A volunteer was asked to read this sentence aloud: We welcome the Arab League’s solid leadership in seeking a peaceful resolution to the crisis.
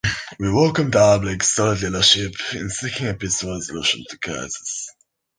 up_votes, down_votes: 0, 3